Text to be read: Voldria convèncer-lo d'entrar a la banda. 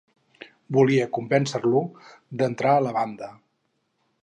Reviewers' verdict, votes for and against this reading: rejected, 2, 2